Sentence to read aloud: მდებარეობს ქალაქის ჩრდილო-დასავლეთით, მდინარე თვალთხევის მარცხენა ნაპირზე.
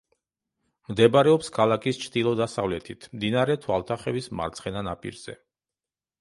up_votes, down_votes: 0, 2